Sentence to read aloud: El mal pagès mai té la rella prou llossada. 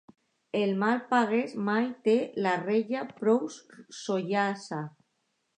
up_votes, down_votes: 0, 2